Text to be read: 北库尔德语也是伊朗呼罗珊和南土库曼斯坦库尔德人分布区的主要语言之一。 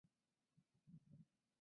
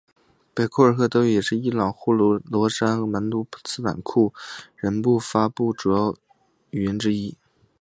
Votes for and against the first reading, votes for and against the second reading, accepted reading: 0, 3, 4, 1, second